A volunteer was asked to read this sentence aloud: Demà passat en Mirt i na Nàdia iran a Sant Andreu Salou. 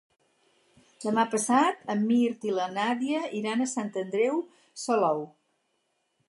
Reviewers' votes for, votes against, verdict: 0, 6, rejected